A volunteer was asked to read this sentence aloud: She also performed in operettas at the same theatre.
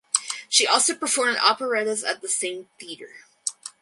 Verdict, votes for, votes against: rejected, 2, 4